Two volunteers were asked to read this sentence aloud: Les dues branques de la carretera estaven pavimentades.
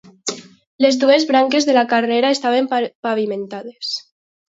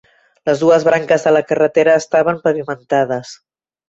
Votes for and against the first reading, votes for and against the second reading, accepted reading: 0, 2, 3, 0, second